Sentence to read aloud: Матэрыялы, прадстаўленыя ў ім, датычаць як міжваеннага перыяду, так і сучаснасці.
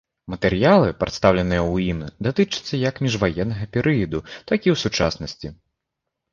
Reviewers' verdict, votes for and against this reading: rejected, 0, 2